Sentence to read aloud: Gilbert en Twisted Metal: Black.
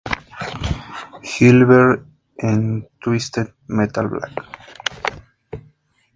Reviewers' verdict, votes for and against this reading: rejected, 0, 2